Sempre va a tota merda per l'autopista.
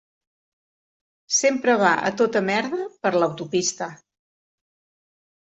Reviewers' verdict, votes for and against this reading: accepted, 2, 0